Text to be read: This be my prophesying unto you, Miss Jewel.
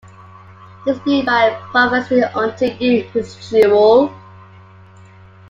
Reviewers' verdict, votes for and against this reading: rejected, 0, 2